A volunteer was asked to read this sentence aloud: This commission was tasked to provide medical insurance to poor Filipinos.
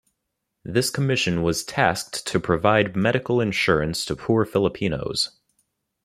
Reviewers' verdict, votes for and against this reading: accepted, 2, 0